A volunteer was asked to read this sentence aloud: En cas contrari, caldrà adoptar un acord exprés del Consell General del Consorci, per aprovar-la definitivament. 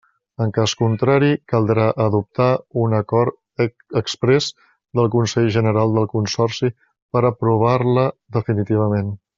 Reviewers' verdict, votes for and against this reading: rejected, 1, 2